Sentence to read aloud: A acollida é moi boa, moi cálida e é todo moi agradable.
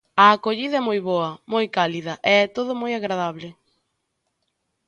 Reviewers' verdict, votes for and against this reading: accepted, 4, 0